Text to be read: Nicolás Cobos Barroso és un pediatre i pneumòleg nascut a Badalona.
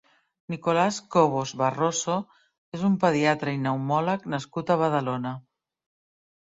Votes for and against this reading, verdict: 2, 0, accepted